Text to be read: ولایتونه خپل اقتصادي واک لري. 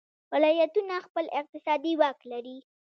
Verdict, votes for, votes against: rejected, 1, 2